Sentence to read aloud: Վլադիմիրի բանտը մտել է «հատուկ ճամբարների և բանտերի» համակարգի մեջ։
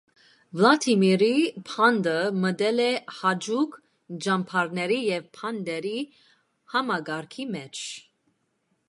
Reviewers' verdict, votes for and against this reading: rejected, 0, 2